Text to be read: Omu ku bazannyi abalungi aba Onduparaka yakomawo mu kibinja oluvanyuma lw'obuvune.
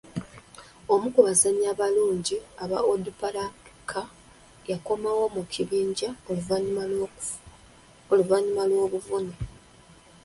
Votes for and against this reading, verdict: 0, 2, rejected